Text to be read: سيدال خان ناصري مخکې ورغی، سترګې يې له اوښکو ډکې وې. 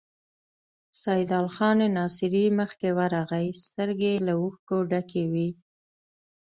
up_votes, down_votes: 2, 0